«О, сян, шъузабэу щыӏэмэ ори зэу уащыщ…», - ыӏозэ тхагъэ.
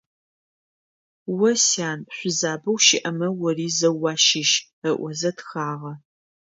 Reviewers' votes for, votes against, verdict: 2, 0, accepted